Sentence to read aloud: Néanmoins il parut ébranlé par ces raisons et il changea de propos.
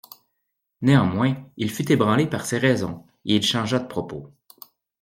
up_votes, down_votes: 1, 2